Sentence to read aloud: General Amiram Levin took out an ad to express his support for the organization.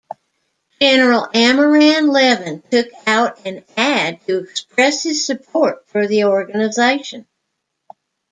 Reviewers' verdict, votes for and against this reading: rejected, 1, 2